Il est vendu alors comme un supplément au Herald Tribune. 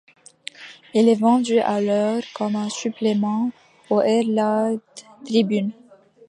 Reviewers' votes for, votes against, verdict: 1, 2, rejected